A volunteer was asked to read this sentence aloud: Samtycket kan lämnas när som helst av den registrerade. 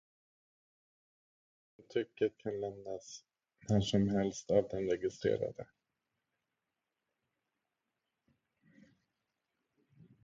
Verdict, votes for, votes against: rejected, 0, 2